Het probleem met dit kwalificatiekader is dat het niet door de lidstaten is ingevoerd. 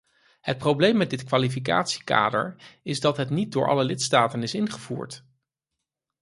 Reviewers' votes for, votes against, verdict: 0, 4, rejected